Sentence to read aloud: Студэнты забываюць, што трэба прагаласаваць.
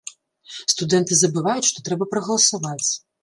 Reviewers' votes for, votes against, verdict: 3, 0, accepted